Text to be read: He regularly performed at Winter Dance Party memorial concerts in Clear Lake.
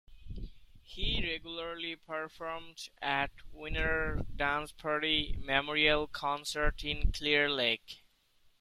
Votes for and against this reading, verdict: 2, 1, accepted